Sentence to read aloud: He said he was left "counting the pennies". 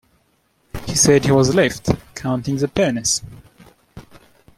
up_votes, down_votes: 2, 1